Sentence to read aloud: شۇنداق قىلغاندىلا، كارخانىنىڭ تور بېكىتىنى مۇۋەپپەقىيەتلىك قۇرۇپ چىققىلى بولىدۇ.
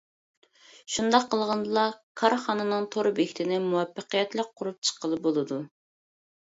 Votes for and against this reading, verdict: 2, 0, accepted